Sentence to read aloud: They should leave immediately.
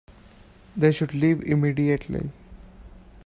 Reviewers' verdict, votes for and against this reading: accepted, 2, 0